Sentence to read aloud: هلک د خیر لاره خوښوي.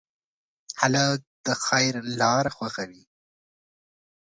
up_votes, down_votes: 2, 0